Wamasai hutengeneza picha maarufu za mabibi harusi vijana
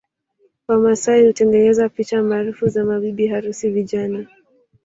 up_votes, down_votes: 3, 1